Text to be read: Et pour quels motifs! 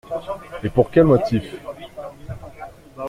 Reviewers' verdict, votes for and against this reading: rejected, 0, 2